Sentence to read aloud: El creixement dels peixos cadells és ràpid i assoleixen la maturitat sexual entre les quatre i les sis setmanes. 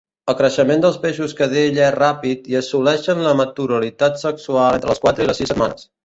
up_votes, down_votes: 0, 2